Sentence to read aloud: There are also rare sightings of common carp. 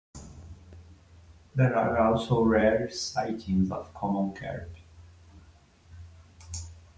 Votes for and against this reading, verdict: 2, 1, accepted